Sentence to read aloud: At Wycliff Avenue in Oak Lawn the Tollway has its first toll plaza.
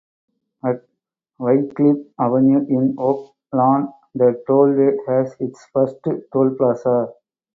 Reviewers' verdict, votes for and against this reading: accepted, 4, 0